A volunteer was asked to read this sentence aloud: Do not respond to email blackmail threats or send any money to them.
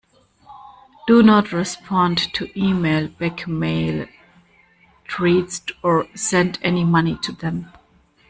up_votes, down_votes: 0, 2